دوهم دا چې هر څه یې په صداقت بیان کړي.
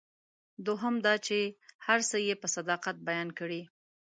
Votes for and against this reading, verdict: 2, 0, accepted